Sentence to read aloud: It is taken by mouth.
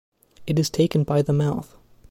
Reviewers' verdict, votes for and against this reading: rejected, 1, 2